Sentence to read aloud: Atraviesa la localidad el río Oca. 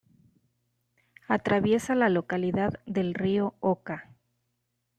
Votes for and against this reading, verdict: 1, 2, rejected